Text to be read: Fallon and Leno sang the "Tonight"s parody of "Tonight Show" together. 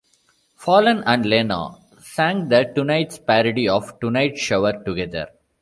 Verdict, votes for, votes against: rejected, 0, 2